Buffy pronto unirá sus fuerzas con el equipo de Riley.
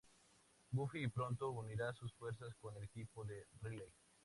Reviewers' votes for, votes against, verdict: 2, 0, accepted